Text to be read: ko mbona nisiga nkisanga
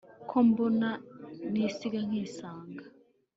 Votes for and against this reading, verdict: 3, 0, accepted